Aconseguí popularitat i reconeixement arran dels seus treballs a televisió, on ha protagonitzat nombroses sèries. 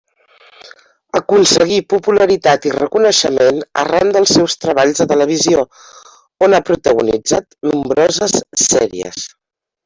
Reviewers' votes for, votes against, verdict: 1, 2, rejected